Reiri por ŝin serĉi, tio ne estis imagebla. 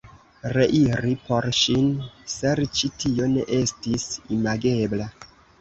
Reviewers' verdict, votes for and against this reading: accepted, 2, 0